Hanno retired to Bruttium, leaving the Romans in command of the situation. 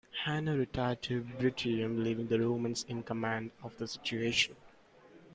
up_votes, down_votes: 2, 0